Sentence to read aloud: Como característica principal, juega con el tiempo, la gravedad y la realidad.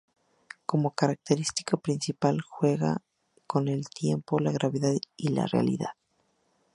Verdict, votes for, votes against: accepted, 2, 0